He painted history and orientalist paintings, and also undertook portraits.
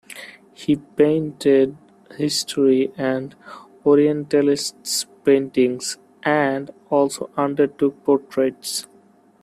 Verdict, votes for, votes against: rejected, 1, 2